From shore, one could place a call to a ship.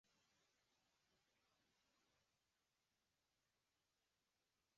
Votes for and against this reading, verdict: 0, 2, rejected